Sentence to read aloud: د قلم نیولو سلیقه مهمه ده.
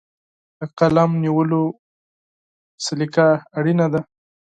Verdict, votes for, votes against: accepted, 6, 0